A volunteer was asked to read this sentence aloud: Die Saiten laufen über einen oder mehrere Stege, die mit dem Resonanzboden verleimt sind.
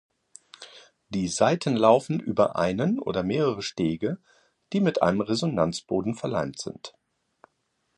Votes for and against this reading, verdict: 1, 2, rejected